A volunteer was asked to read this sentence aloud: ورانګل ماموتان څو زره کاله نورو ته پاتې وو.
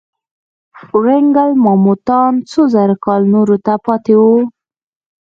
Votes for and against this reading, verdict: 3, 2, accepted